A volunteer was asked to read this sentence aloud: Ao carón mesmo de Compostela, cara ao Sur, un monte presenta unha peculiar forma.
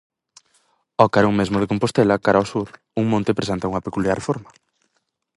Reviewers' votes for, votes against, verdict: 4, 0, accepted